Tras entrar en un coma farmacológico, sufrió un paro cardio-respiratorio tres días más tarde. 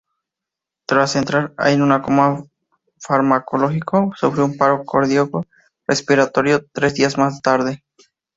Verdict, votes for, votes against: rejected, 0, 2